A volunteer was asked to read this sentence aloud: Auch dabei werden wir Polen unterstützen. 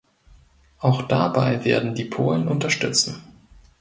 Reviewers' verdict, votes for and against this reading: rejected, 0, 2